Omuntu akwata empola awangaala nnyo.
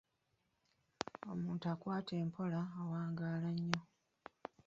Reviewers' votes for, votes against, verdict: 1, 2, rejected